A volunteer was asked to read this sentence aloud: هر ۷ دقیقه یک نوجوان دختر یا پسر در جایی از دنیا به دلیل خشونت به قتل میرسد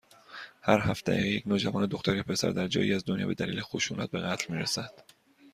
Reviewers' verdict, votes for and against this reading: rejected, 0, 2